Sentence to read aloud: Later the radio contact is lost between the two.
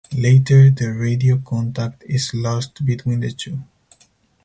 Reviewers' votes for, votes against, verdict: 4, 0, accepted